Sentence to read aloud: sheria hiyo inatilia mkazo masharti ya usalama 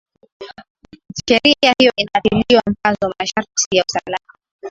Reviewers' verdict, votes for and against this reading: rejected, 3, 13